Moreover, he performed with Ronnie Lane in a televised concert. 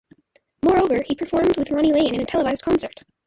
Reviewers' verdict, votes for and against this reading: rejected, 0, 2